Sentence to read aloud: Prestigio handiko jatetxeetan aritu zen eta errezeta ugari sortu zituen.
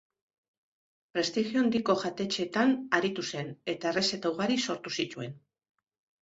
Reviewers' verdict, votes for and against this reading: accepted, 2, 0